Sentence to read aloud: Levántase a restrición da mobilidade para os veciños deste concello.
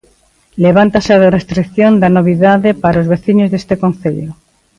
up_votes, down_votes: 1, 2